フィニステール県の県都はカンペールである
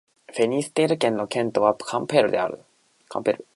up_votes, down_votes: 2, 0